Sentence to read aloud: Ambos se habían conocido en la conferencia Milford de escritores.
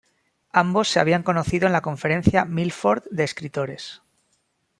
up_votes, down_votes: 2, 0